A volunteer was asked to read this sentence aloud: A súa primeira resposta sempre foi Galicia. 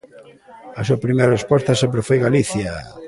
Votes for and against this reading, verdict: 2, 0, accepted